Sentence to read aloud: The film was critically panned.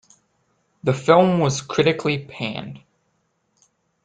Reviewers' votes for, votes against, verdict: 2, 0, accepted